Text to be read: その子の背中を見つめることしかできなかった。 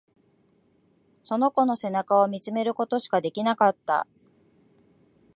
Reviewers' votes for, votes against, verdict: 1, 2, rejected